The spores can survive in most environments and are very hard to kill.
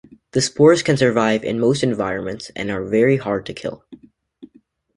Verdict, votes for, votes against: accepted, 2, 0